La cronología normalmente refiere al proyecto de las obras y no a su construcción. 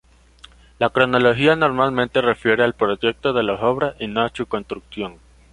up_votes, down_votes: 2, 0